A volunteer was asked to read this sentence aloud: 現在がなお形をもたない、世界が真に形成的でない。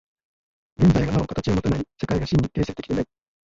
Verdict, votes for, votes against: rejected, 0, 2